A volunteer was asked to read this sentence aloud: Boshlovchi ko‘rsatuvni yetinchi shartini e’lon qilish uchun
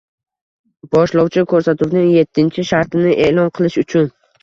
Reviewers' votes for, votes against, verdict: 2, 0, accepted